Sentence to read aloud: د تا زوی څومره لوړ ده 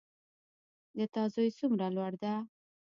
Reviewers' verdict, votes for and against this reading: accepted, 2, 1